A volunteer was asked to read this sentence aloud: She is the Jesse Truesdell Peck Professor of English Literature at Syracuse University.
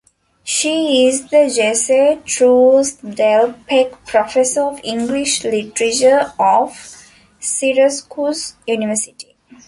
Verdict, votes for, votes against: rejected, 0, 2